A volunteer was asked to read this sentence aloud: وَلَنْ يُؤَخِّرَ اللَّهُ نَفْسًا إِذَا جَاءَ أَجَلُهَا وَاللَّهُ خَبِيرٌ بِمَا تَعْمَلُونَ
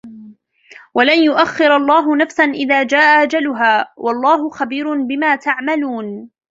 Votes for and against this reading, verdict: 1, 2, rejected